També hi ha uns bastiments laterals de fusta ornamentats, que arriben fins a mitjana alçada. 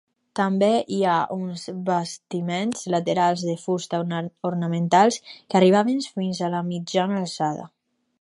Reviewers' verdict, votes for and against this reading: rejected, 0, 2